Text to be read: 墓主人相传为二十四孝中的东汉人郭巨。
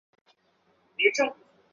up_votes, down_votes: 0, 4